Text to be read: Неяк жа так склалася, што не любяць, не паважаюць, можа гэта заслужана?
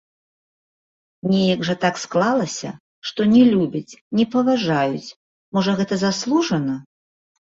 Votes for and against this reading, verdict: 0, 2, rejected